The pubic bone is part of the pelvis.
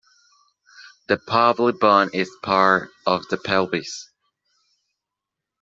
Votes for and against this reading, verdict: 1, 2, rejected